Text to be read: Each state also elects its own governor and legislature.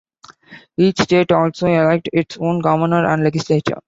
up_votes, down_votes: 0, 2